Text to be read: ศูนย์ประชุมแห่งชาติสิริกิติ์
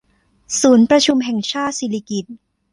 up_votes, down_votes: 1, 2